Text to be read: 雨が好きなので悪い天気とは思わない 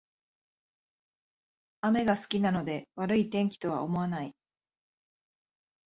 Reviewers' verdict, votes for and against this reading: accepted, 2, 0